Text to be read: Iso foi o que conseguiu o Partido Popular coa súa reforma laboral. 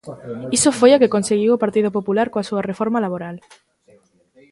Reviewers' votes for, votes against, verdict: 1, 2, rejected